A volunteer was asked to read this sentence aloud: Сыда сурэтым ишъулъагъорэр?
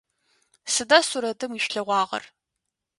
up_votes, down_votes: 0, 2